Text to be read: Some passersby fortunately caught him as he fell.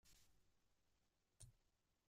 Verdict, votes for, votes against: rejected, 0, 2